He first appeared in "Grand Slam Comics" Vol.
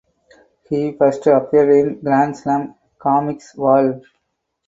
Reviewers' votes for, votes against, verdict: 4, 0, accepted